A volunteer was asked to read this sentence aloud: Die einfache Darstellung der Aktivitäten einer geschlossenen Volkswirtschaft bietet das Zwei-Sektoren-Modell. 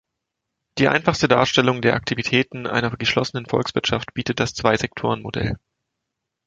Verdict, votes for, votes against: rejected, 1, 2